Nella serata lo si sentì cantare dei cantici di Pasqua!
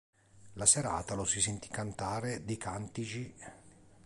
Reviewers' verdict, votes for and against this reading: rejected, 1, 3